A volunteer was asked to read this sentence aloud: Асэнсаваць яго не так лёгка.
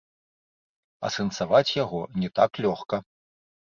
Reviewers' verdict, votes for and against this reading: rejected, 0, 2